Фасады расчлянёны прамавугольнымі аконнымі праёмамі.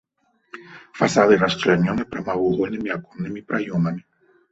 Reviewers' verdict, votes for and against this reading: accepted, 2, 0